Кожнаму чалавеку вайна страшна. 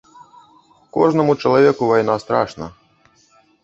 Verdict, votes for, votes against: rejected, 0, 2